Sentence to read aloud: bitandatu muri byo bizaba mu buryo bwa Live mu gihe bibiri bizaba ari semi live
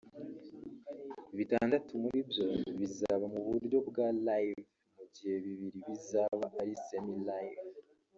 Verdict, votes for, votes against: rejected, 1, 2